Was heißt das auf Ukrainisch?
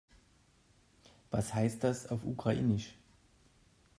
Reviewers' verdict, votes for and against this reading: accepted, 2, 0